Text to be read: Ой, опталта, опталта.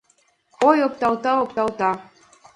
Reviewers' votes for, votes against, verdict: 2, 0, accepted